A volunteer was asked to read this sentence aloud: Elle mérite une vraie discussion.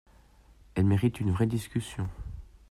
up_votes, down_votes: 2, 0